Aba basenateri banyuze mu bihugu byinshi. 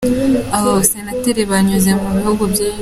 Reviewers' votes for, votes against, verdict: 1, 2, rejected